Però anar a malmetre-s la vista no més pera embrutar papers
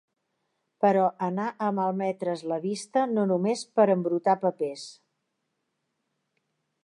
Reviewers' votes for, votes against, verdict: 1, 2, rejected